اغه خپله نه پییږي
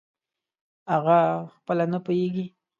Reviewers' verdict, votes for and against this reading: accepted, 2, 0